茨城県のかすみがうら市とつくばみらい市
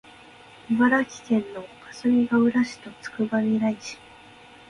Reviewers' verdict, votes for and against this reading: accepted, 3, 0